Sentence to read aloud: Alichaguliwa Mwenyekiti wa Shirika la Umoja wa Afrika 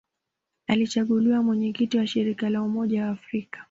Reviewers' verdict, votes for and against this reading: accepted, 2, 0